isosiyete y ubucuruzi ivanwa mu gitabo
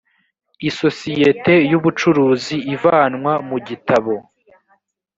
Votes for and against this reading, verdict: 2, 0, accepted